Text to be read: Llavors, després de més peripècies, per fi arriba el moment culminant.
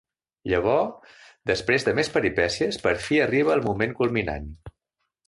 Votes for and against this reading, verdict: 3, 0, accepted